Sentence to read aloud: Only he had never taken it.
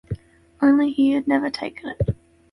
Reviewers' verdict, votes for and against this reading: accepted, 2, 0